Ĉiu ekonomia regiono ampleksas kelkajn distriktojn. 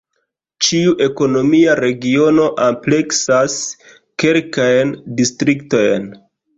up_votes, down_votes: 3, 0